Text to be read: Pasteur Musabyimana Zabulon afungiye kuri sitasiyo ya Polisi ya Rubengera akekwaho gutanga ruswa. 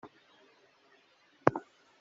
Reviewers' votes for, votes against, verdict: 0, 2, rejected